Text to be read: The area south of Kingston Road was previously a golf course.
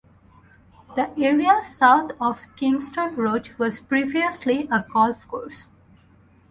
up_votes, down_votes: 4, 0